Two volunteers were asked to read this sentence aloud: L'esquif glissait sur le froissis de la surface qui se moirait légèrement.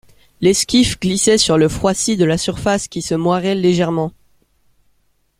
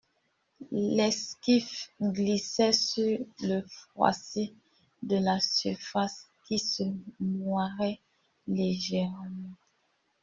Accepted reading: first